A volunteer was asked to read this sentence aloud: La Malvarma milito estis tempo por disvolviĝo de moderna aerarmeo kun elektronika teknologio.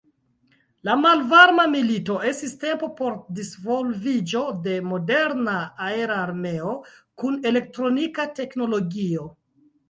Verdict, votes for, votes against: rejected, 2, 3